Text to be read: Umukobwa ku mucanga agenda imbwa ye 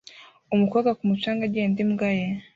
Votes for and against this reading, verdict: 1, 2, rejected